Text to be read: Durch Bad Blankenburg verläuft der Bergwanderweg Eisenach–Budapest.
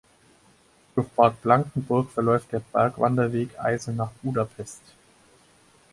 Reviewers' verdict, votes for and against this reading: accepted, 4, 0